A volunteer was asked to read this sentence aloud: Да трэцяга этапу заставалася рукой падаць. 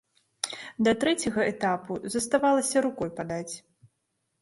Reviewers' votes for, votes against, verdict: 3, 1, accepted